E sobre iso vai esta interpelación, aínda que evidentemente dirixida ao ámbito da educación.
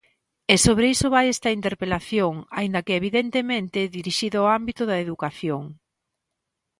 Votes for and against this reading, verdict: 2, 0, accepted